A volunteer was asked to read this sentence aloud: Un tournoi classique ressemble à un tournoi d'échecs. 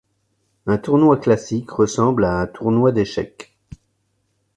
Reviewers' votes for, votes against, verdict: 2, 0, accepted